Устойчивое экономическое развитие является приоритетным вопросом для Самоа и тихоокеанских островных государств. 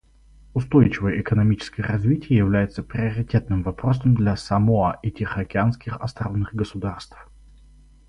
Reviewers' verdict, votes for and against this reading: accepted, 4, 0